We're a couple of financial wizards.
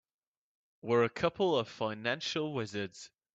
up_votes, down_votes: 2, 0